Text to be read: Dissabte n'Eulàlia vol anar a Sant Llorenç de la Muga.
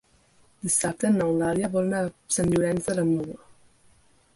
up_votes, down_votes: 3, 0